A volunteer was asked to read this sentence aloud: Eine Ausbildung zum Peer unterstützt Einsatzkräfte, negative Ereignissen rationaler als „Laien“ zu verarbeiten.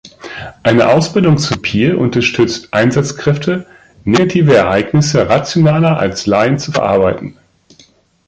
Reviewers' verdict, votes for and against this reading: accepted, 2, 0